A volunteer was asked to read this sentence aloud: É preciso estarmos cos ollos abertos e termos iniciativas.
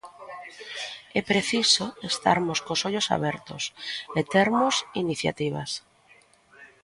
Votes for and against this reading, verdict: 2, 0, accepted